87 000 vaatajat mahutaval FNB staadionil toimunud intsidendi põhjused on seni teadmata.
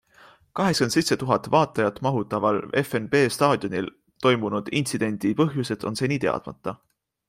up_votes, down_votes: 0, 2